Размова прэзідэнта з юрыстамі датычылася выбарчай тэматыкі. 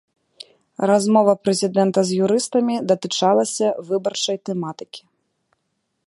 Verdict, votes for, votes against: rejected, 0, 2